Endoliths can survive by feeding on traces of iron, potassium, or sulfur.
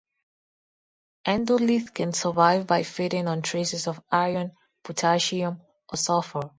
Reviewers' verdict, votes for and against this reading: accepted, 2, 0